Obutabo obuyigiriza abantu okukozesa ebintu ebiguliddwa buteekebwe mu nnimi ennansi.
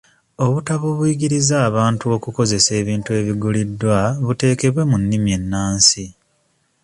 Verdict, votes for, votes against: accepted, 2, 0